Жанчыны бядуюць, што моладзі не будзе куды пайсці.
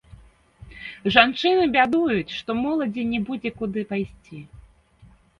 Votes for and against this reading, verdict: 1, 2, rejected